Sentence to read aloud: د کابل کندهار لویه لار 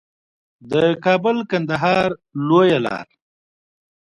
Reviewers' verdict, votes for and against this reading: rejected, 1, 2